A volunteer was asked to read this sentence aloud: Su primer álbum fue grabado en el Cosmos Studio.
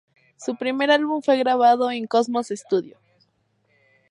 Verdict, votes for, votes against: accepted, 4, 0